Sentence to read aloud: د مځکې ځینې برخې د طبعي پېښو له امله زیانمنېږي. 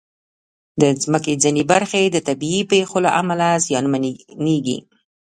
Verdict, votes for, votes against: rejected, 1, 2